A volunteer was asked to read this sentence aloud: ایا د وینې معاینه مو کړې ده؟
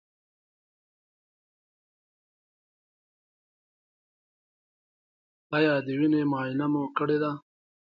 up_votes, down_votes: 0, 2